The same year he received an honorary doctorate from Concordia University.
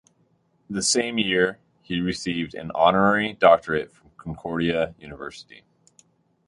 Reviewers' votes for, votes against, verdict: 0, 2, rejected